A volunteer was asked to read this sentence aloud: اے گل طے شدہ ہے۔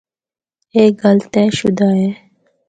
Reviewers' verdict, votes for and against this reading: accepted, 4, 0